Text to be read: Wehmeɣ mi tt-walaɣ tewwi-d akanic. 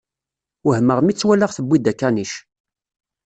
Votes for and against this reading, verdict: 2, 0, accepted